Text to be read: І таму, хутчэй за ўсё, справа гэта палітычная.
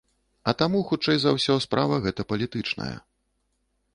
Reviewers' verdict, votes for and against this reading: rejected, 1, 2